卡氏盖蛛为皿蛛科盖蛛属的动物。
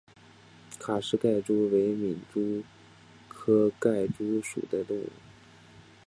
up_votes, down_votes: 4, 0